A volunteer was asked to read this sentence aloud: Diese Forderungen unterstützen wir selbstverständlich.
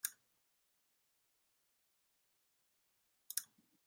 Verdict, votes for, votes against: rejected, 0, 2